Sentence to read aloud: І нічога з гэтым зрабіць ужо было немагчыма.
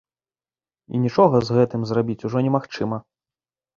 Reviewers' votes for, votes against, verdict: 0, 2, rejected